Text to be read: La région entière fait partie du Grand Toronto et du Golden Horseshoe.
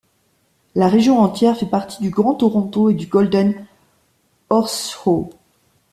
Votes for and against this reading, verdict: 1, 2, rejected